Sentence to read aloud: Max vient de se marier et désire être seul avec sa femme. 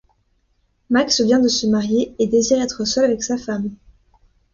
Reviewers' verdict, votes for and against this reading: accepted, 2, 0